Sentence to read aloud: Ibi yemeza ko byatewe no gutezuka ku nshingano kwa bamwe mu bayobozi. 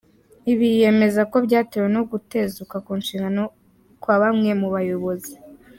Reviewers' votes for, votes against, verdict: 3, 0, accepted